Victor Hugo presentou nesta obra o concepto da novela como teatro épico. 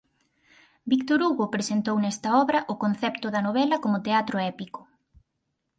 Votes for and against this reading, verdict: 4, 0, accepted